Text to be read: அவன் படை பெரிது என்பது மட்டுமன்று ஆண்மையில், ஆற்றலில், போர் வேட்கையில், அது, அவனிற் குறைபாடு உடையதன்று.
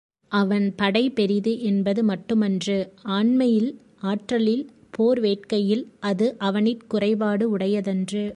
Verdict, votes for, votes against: accepted, 2, 0